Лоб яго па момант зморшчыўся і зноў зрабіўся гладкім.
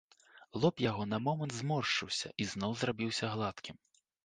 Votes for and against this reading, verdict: 1, 2, rejected